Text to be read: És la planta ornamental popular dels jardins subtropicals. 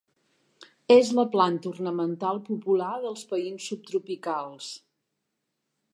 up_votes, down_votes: 0, 2